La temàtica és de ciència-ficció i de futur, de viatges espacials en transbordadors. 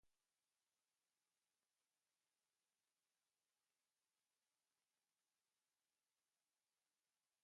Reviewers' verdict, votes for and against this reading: rejected, 0, 2